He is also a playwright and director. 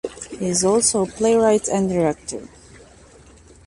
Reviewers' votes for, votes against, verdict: 2, 0, accepted